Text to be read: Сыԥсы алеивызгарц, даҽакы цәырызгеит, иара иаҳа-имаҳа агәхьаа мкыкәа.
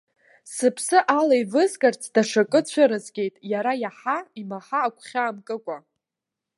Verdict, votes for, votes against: rejected, 0, 2